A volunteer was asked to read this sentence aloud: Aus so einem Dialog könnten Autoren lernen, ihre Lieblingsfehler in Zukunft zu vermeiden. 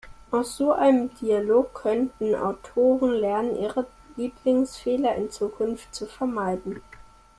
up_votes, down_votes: 2, 1